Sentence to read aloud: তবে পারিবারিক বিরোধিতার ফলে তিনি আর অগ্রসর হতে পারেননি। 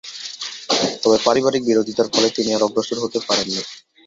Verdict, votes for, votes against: rejected, 0, 2